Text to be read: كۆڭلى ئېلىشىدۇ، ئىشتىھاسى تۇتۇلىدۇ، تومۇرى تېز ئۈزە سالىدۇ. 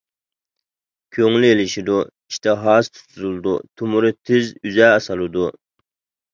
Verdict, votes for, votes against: rejected, 0, 2